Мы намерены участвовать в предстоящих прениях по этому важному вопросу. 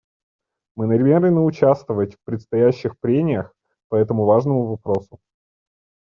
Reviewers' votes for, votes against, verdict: 1, 2, rejected